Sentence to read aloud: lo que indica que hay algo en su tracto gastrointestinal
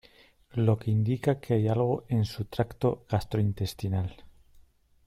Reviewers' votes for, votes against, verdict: 2, 0, accepted